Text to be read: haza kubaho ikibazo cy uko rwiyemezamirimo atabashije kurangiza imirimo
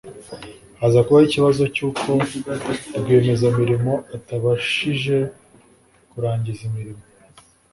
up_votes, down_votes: 3, 0